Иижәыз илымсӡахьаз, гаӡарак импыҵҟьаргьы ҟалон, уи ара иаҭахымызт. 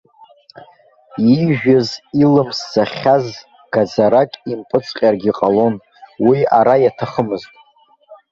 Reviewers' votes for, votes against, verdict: 1, 3, rejected